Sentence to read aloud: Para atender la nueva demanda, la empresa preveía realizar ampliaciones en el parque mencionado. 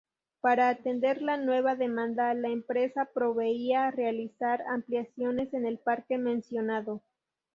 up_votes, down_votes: 0, 2